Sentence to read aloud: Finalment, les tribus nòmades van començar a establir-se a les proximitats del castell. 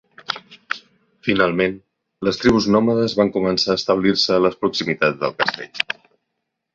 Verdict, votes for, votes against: accepted, 3, 1